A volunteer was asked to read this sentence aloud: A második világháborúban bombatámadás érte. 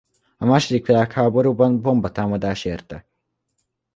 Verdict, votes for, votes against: accepted, 2, 0